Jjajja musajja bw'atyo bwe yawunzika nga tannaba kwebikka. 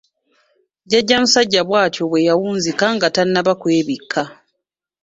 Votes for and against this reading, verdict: 2, 0, accepted